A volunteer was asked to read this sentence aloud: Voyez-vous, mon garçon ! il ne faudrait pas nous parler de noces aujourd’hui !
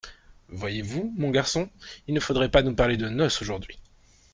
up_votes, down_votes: 2, 0